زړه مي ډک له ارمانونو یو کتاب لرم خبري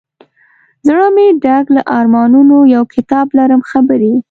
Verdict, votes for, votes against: rejected, 0, 2